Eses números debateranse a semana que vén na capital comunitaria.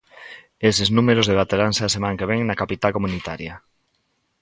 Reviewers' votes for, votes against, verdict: 1, 2, rejected